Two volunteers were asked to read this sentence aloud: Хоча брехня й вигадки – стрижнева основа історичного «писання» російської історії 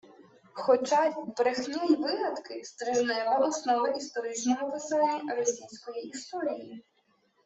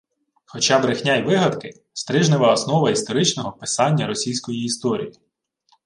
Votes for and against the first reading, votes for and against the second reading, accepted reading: 0, 2, 2, 0, second